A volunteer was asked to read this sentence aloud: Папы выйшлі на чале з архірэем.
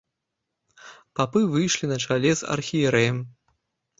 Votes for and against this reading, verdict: 0, 2, rejected